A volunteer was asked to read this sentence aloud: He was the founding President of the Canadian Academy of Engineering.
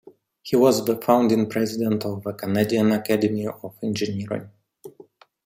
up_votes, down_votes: 2, 0